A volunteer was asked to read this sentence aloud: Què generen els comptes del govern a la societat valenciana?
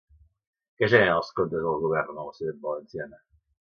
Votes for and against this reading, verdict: 0, 2, rejected